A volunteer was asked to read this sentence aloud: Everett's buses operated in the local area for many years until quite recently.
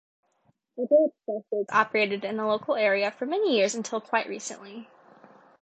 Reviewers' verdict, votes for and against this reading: accepted, 2, 1